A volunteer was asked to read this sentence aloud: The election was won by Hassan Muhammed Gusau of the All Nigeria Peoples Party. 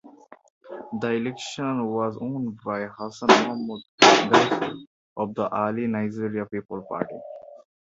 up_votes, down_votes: 0, 2